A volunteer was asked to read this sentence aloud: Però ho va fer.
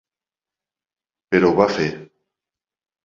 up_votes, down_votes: 2, 0